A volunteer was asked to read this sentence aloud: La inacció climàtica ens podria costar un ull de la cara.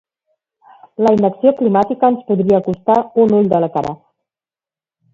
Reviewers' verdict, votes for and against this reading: rejected, 1, 2